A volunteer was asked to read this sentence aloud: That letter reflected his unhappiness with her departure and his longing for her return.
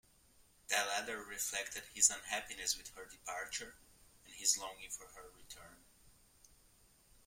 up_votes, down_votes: 1, 2